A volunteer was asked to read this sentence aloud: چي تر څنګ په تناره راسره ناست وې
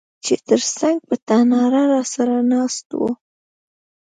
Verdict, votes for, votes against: rejected, 1, 2